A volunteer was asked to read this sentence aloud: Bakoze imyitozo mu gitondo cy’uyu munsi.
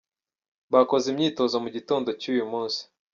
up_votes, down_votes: 1, 2